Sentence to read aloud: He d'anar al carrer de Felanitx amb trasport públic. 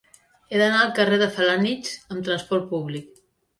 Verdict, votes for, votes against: accepted, 2, 0